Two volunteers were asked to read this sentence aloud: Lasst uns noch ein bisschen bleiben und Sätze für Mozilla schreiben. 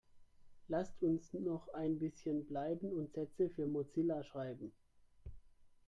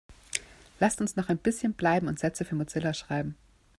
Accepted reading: second